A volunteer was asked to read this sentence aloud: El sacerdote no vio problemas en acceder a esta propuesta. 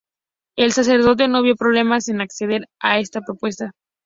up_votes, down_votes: 2, 0